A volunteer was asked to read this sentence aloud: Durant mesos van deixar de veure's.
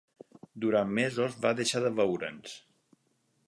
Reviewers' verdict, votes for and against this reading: rejected, 0, 6